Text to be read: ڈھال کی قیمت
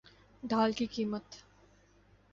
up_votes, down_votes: 2, 0